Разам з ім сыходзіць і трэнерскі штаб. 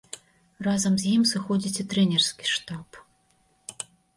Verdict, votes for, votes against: accepted, 2, 0